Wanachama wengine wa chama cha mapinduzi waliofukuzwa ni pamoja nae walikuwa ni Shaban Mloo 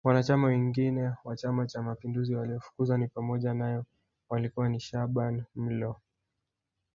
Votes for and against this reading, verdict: 1, 2, rejected